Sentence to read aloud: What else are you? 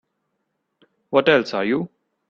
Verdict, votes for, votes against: accepted, 2, 0